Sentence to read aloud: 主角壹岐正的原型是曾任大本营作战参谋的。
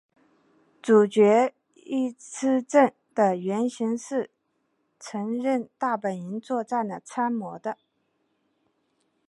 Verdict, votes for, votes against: accepted, 3, 1